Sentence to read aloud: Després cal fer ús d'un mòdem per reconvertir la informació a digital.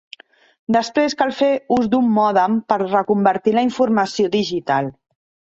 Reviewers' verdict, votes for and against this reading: rejected, 1, 2